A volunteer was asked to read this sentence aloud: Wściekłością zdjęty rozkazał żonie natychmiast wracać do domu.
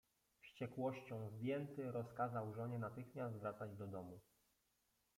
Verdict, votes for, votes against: rejected, 1, 2